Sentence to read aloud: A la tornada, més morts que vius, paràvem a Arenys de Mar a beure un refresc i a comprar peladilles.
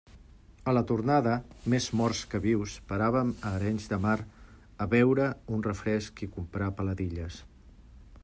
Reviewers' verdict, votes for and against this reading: accepted, 2, 0